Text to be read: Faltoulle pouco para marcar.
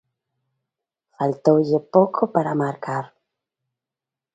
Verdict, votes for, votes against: accepted, 2, 1